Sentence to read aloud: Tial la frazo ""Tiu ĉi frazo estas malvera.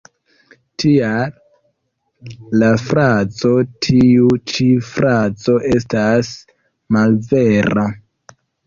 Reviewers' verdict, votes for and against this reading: accepted, 2, 1